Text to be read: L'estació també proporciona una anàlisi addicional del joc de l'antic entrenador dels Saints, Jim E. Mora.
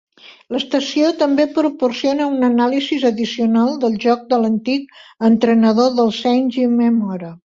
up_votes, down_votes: 0, 2